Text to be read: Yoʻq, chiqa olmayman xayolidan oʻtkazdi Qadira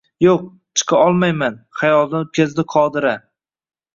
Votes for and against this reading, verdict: 2, 0, accepted